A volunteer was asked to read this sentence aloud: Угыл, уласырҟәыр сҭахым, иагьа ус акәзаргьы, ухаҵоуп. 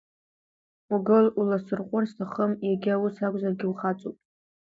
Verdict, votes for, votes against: accepted, 2, 1